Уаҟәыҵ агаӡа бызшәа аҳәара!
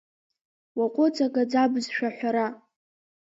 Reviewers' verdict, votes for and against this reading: accepted, 3, 0